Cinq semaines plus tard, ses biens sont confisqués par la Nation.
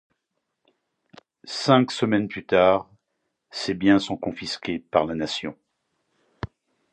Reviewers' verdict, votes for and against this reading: accepted, 2, 0